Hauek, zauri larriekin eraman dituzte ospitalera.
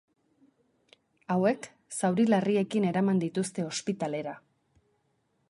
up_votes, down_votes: 4, 0